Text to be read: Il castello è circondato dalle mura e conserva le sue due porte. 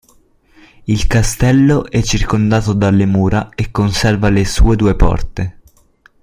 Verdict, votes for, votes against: accepted, 2, 0